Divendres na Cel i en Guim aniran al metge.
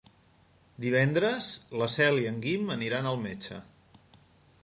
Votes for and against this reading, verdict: 0, 2, rejected